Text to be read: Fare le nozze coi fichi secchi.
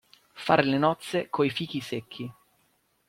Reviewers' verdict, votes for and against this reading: accepted, 2, 0